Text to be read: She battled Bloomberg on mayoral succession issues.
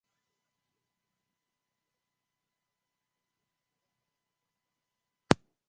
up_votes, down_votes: 0, 2